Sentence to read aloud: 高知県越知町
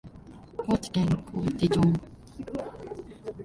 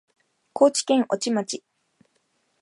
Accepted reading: second